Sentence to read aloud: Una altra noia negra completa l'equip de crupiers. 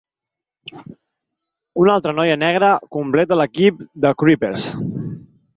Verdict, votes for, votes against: rejected, 2, 4